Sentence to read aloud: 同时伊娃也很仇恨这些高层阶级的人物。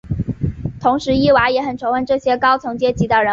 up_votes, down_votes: 3, 1